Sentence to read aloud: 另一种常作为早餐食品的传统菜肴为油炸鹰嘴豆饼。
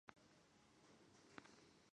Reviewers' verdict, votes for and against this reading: rejected, 1, 2